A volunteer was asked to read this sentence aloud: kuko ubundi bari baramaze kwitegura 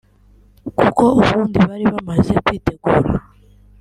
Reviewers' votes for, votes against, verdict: 0, 2, rejected